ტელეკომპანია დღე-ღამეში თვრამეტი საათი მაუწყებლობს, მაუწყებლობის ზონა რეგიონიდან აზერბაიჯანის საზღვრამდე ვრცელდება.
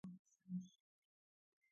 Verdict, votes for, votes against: rejected, 0, 2